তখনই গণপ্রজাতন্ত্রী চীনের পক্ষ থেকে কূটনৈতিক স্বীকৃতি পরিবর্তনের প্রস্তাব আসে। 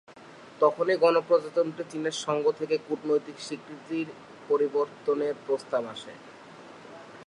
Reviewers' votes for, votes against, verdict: 0, 3, rejected